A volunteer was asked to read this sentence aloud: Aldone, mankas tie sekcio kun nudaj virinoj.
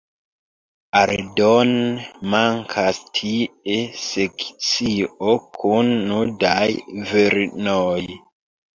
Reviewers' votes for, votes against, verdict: 1, 2, rejected